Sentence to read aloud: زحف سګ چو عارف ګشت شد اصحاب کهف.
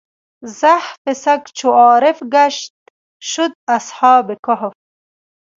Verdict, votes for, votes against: rejected, 1, 2